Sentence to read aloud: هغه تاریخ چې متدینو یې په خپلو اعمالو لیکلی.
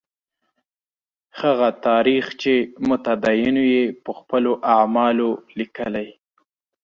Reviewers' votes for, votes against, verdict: 2, 0, accepted